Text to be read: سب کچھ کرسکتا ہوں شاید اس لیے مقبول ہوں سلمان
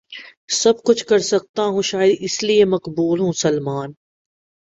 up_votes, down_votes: 2, 0